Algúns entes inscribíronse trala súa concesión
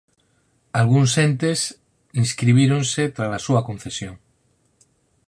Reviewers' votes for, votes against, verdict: 4, 0, accepted